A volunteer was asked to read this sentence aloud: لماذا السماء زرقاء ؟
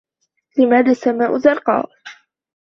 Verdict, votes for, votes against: accepted, 2, 0